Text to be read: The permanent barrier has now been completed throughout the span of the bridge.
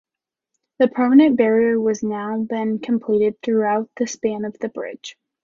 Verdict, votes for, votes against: rejected, 1, 2